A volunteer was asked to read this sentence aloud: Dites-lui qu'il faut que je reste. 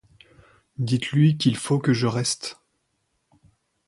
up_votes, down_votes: 2, 0